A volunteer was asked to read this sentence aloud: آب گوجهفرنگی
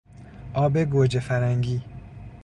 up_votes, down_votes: 2, 0